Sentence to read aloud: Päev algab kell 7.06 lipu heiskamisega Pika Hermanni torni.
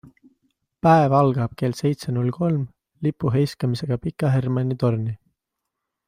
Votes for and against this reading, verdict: 0, 2, rejected